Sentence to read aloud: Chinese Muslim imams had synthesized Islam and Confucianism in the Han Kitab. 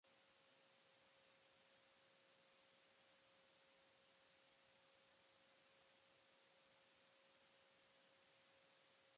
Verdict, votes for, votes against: rejected, 0, 2